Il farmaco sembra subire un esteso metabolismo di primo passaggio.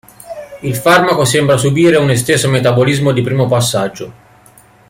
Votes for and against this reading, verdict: 0, 2, rejected